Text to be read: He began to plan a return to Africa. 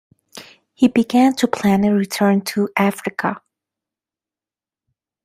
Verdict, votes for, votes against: accepted, 2, 0